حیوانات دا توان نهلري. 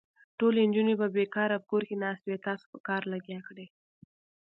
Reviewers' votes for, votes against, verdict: 0, 2, rejected